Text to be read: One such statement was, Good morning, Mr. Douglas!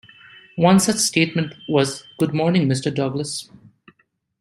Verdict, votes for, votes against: accepted, 2, 0